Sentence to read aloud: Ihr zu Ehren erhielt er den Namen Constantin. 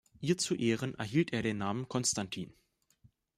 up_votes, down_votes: 2, 0